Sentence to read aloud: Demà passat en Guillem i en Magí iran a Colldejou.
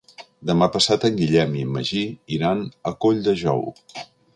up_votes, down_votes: 3, 0